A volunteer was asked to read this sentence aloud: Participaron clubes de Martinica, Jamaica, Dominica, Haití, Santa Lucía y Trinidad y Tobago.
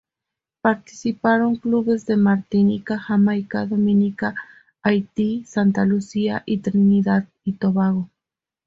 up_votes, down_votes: 2, 0